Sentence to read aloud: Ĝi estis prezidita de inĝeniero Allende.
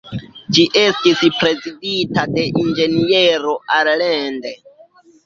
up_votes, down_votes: 0, 2